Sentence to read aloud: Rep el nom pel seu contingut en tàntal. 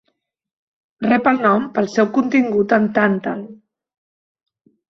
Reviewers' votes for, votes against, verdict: 2, 0, accepted